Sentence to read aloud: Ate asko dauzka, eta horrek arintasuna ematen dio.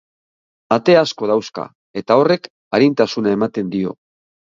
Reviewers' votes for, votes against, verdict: 2, 0, accepted